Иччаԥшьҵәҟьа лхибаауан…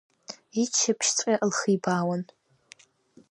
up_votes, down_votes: 2, 0